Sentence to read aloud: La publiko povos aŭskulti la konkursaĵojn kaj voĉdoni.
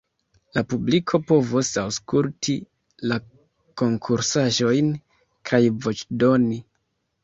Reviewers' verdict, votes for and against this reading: rejected, 0, 2